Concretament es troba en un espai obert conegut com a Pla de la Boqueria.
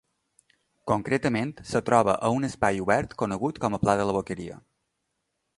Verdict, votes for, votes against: rejected, 1, 2